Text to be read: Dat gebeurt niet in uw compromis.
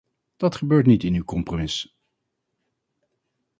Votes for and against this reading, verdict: 2, 0, accepted